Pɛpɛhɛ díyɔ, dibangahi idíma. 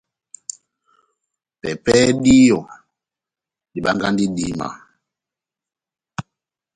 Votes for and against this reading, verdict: 2, 1, accepted